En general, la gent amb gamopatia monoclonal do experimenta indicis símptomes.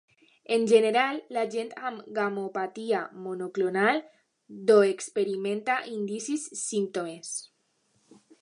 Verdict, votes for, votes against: accepted, 2, 0